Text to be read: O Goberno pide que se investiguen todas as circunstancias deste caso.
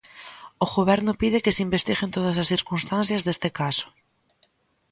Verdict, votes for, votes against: accepted, 2, 1